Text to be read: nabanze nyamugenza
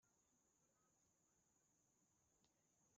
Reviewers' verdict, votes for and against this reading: rejected, 1, 2